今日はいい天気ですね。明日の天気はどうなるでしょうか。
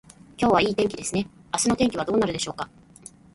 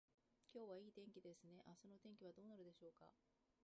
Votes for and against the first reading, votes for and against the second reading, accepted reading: 2, 1, 0, 2, first